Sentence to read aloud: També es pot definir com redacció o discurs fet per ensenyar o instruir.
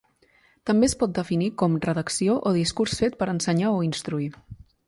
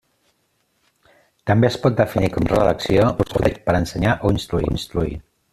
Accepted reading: first